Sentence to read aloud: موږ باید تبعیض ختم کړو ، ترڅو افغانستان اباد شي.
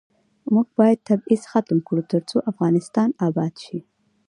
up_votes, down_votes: 2, 1